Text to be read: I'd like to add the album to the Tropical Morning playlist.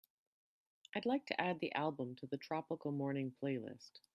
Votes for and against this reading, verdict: 3, 0, accepted